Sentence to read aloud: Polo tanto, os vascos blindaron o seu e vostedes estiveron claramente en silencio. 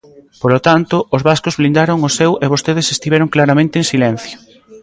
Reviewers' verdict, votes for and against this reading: accepted, 2, 0